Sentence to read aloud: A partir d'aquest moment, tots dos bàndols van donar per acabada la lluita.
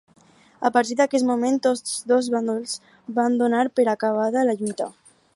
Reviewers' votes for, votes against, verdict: 4, 0, accepted